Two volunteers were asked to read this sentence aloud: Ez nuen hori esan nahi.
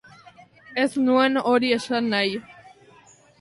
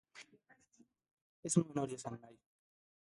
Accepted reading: first